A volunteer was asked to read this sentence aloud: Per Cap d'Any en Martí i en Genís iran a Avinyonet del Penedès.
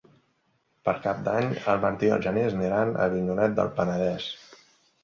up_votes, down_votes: 2, 3